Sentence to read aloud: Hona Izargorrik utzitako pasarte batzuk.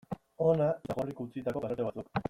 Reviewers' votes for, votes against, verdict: 0, 2, rejected